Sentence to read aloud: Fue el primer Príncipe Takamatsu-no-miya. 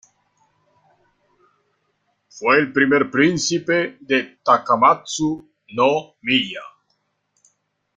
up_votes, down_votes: 0, 2